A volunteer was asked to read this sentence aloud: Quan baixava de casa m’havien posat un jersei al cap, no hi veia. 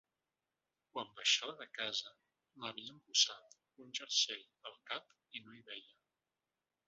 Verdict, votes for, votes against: rejected, 0, 2